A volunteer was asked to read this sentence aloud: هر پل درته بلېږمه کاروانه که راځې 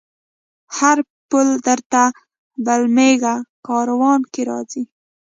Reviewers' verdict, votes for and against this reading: rejected, 1, 2